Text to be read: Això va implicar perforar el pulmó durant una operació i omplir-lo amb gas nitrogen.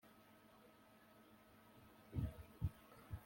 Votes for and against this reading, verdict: 0, 2, rejected